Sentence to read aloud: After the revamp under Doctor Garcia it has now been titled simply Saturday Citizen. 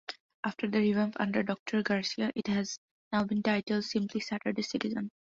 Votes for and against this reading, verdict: 2, 0, accepted